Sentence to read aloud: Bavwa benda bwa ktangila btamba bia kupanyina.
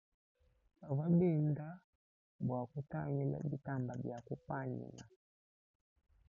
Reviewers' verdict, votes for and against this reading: accepted, 2, 1